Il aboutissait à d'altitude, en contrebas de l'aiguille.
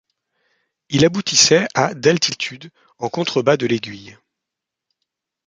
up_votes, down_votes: 2, 0